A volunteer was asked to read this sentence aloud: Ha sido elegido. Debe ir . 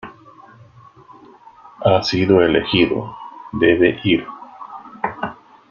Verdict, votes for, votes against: accepted, 2, 1